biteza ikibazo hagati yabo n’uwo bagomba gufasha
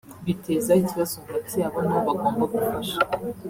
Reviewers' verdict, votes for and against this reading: rejected, 1, 2